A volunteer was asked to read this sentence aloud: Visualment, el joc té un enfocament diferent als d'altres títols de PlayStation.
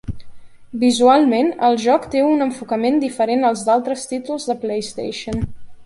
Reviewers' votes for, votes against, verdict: 1, 2, rejected